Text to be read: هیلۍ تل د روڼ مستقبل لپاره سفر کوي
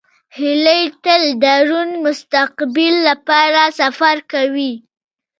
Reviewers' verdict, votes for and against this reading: accepted, 2, 0